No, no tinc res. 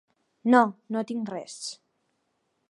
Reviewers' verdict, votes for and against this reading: accepted, 5, 0